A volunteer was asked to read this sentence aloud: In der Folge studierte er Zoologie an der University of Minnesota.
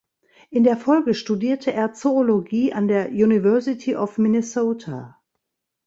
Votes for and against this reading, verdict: 2, 0, accepted